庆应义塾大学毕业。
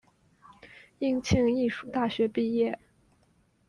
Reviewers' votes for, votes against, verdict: 0, 2, rejected